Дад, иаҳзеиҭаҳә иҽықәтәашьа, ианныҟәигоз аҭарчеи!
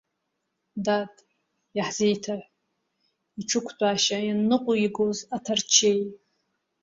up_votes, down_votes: 0, 2